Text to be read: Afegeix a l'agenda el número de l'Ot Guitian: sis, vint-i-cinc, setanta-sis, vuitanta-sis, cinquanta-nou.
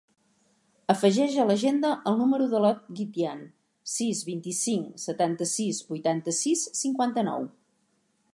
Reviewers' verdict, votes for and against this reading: accepted, 2, 0